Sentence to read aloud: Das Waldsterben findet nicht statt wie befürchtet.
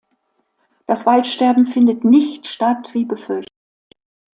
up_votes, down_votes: 0, 2